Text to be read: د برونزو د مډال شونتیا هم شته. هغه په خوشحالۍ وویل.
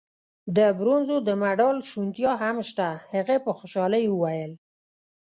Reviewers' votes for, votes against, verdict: 0, 2, rejected